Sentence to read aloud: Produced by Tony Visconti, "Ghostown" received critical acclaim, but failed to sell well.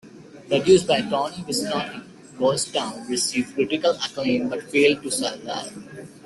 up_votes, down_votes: 0, 2